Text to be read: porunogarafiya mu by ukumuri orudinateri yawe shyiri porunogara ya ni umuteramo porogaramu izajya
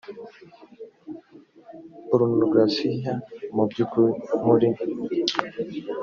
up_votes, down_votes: 0, 2